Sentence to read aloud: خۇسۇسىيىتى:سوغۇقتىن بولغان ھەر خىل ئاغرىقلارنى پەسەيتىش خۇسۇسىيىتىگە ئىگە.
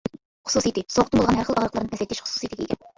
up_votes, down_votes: 1, 2